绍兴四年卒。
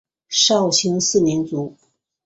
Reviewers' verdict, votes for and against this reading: accepted, 2, 1